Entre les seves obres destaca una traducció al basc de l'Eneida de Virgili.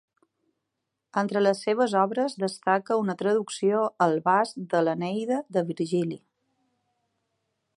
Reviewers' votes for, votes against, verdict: 12, 0, accepted